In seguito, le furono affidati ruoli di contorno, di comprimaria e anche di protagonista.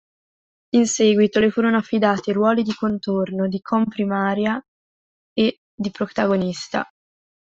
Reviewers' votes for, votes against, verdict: 1, 2, rejected